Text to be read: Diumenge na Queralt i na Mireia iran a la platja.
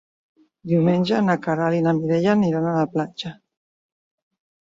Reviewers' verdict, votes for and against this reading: rejected, 1, 2